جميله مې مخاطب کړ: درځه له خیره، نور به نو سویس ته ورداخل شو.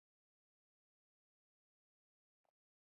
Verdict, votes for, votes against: rejected, 1, 2